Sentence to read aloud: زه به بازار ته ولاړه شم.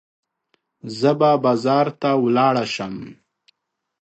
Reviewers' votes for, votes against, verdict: 2, 0, accepted